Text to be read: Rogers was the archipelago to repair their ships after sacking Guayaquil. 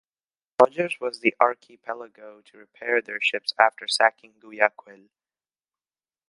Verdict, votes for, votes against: rejected, 1, 2